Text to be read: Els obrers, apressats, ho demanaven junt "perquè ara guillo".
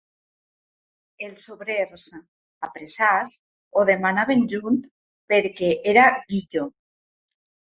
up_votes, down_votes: 0, 3